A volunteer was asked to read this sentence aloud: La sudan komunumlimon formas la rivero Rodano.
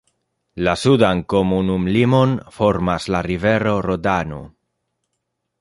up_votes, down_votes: 2, 0